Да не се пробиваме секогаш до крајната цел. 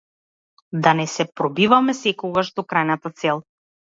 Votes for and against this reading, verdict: 2, 0, accepted